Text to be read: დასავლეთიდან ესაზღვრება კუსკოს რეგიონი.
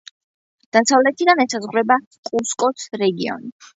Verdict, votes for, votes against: accepted, 2, 0